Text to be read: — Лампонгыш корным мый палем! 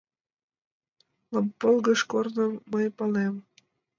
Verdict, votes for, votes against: rejected, 1, 2